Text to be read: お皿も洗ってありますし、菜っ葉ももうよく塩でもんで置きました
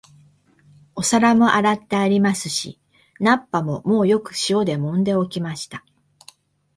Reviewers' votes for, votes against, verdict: 3, 0, accepted